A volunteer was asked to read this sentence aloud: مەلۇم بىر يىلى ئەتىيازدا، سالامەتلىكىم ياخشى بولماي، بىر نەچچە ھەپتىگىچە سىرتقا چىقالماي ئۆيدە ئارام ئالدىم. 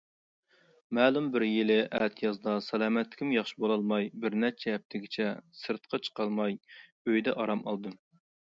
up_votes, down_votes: 0, 2